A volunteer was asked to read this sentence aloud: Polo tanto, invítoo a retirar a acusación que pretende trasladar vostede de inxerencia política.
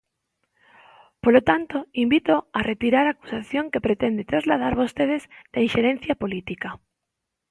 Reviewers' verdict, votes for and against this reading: rejected, 0, 2